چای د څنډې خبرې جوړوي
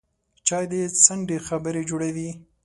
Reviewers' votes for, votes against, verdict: 2, 0, accepted